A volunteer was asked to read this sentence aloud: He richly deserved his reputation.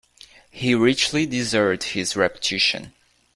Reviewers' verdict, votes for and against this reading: rejected, 0, 2